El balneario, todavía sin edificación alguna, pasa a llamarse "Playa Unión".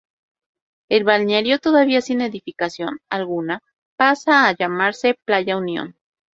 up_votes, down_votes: 4, 0